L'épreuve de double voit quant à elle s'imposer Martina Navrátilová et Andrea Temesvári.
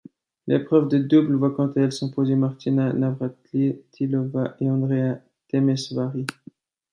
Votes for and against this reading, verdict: 2, 1, accepted